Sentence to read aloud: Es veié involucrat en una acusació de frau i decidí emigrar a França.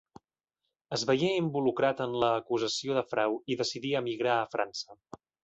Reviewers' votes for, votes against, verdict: 0, 2, rejected